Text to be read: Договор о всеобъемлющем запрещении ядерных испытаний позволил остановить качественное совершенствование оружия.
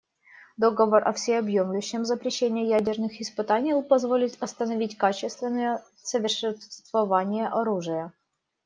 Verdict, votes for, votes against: rejected, 0, 2